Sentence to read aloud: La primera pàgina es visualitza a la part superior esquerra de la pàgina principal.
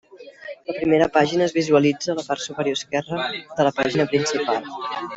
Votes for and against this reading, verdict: 0, 2, rejected